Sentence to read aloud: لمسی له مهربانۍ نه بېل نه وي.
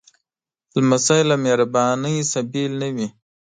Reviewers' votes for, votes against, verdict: 1, 2, rejected